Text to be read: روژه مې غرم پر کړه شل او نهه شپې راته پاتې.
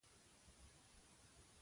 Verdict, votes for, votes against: rejected, 1, 2